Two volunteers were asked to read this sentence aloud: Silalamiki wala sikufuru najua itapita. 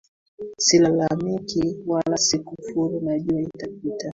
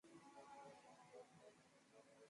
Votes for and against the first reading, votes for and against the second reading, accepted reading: 2, 1, 1, 3, first